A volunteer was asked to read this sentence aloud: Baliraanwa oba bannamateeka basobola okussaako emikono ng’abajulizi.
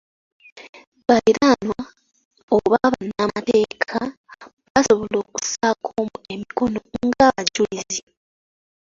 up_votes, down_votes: 0, 2